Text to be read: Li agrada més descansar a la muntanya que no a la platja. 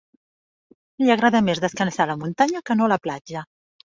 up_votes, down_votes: 3, 0